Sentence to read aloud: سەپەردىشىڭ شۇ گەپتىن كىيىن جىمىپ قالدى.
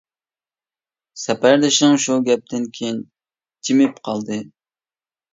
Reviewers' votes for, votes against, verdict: 2, 0, accepted